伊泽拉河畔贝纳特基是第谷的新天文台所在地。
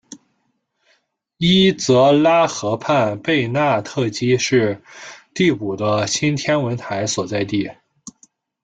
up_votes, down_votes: 1, 2